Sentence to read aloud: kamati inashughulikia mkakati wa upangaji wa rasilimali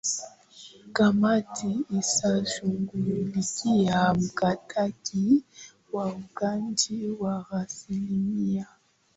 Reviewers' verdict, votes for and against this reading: rejected, 1, 2